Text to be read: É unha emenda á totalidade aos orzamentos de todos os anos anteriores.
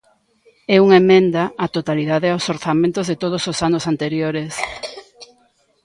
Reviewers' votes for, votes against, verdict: 1, 2, rejected